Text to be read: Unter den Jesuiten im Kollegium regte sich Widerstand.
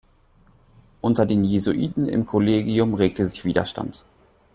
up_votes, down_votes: 2, 0